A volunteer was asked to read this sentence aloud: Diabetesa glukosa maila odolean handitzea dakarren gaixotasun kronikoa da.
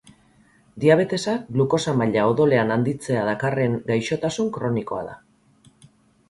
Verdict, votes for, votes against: accepted, 8, 0